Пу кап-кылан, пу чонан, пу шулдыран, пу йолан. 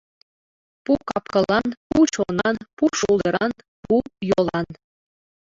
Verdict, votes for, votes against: rejected, 1, 2